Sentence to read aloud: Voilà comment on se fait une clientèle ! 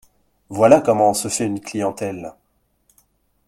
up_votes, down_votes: 2, 0